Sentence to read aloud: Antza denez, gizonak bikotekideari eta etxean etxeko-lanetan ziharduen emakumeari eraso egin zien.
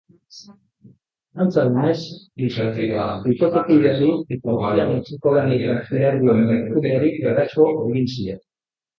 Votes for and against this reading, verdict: 0, 2, rejected